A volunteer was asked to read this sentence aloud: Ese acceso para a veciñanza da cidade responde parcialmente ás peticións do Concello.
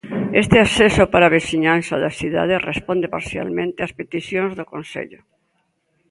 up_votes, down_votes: 0, 2